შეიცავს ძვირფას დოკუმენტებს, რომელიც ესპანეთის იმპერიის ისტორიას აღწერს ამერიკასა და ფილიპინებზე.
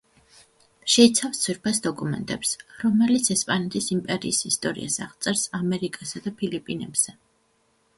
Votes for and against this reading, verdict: 2, 1, accepted